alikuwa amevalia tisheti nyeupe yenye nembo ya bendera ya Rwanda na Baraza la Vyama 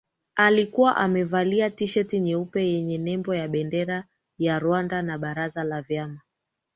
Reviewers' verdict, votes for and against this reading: accepted, 3, 0